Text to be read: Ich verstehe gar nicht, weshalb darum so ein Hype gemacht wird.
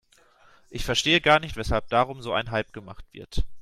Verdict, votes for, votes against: accepted, 2, 0